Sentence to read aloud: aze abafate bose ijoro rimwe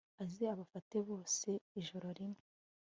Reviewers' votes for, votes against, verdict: 2, 0, accepted